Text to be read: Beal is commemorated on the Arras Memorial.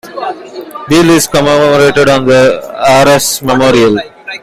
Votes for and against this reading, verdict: 2, 0, accepted